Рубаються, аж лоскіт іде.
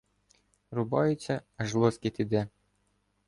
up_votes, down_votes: 2, 1